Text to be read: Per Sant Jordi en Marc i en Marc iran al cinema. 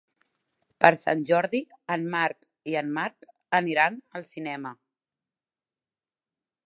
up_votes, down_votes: 0, 3